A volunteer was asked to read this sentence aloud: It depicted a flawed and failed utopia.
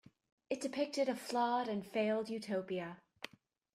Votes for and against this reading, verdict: 2, 0, accepted